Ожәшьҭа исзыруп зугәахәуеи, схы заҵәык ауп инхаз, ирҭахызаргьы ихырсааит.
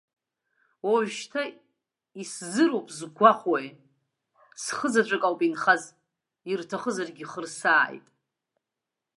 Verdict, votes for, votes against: rejected, 0, 2